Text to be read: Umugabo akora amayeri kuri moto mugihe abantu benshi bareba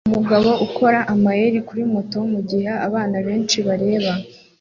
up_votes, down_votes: 2, 1